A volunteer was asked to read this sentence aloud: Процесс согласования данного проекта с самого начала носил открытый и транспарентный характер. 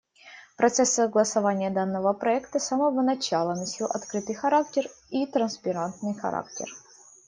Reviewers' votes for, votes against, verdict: 0, 2, rejected